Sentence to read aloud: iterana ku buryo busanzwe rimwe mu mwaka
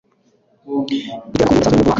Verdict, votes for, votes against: accepted, 2, 1